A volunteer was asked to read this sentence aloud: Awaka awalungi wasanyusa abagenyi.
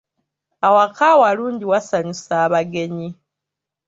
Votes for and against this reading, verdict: 2, 0, accepted